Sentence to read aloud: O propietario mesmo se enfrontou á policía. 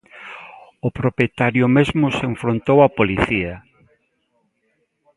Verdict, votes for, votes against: accepted, 2, 0